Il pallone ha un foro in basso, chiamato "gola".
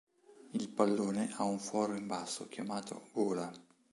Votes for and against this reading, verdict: 2, 0, accepted